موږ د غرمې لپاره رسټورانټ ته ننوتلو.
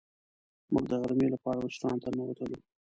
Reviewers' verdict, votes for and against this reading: rejected, 0, 2